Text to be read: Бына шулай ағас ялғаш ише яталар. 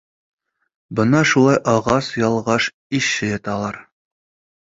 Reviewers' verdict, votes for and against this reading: rejected, 0, 2